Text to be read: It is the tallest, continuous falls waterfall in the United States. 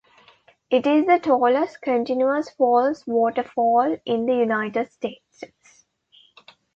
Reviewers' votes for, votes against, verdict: 2, 1, accepted